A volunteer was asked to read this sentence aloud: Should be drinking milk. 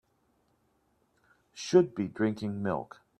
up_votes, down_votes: 2, 0